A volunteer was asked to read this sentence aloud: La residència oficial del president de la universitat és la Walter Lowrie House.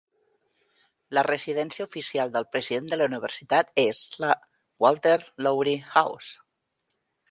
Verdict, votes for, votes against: accepted, 2, 0